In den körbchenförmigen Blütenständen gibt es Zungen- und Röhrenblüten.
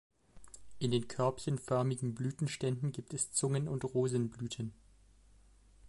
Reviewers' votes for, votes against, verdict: 0, 2, rejected